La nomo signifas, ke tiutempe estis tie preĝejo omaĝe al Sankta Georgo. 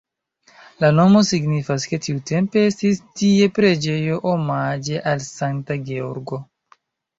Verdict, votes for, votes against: accepted, 2, 0